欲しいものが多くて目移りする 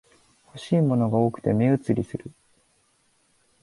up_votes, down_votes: 5, 0